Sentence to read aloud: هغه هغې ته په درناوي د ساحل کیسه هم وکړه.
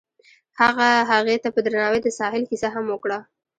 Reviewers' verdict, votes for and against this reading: rejected, 0, 2